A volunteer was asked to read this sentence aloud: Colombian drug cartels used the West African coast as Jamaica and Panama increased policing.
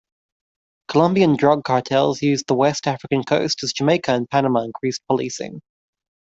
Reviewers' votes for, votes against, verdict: 2, 0, accepted